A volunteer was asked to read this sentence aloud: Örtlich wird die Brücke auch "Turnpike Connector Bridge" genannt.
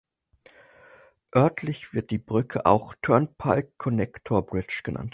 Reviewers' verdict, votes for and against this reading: accepted, 4, 0